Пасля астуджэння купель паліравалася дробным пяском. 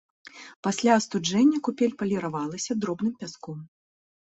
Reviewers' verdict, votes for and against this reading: accepted, 2, 0